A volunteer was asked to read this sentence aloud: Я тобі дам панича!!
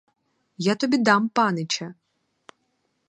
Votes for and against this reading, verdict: 4, 0, accepted